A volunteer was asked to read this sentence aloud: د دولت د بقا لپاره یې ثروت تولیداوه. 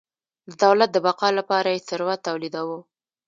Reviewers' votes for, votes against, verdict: 2, 0, accepted